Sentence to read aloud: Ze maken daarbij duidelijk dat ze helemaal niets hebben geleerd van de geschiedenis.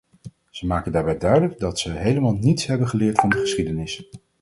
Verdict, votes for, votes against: accepted, 4, 2